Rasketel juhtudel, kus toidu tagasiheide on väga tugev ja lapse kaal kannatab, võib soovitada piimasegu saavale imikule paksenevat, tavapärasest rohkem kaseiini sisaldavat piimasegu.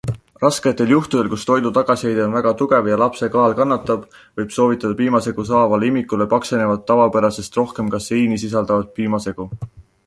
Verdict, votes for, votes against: accepted, 2, 0